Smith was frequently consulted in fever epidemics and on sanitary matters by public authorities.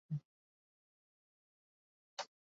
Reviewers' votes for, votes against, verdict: 0, 2, rejected